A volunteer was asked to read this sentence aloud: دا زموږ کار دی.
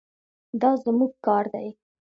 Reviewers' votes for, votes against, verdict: 2, 0, accepted